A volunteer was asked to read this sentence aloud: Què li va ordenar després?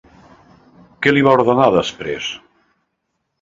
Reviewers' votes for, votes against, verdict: 2, 0, accepted